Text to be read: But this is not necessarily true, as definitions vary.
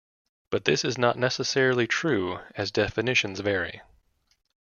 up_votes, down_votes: 2, 0